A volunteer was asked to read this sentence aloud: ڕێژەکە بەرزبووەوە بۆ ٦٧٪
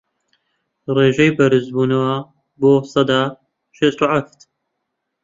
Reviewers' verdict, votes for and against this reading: rejected, 0, 2